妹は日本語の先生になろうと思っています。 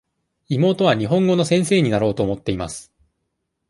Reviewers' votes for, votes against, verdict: 2, 0, accepted